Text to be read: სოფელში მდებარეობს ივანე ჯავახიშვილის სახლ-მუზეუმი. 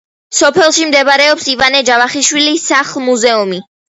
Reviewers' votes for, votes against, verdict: 2, 0, accepted